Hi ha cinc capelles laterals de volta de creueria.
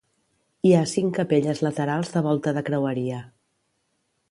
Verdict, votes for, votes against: accepted, 2, 0